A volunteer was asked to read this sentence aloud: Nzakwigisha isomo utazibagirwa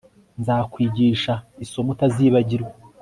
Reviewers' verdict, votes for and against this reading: accepted, 2, 0